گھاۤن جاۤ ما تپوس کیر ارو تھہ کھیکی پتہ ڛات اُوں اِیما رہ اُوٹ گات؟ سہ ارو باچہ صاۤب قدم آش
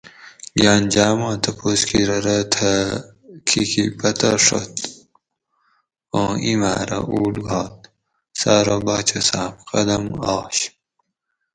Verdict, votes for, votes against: rejected, 2, 2